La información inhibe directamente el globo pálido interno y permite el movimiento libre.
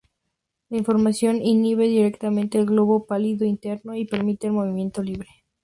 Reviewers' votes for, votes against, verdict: 2, 0, accepted